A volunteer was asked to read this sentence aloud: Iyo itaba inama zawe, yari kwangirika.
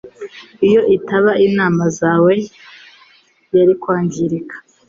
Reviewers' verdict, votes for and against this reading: accepted, 2, 1